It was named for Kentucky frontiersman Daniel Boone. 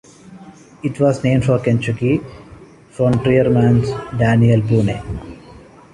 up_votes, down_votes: 0, 2